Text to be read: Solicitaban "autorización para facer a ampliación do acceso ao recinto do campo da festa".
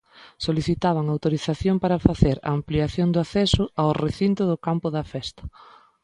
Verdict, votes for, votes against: accepted, 2, 0